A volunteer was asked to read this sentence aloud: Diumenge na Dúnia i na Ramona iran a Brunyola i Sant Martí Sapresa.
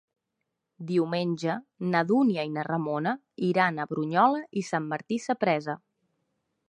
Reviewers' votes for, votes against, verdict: 2, 0, accepted